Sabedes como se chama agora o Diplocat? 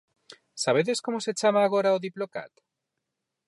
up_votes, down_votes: 4, 0